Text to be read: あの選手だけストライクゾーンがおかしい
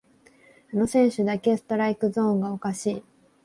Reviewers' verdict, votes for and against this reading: accepted, 5, 0